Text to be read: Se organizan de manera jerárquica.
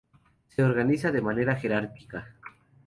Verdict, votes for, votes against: rejected, 0, 2